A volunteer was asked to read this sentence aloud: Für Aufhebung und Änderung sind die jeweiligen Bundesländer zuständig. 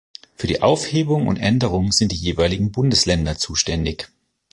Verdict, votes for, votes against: rejected, 1, 2